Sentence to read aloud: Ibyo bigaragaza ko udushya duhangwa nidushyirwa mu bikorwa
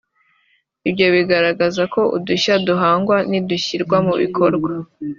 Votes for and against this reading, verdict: 3, 1, accepted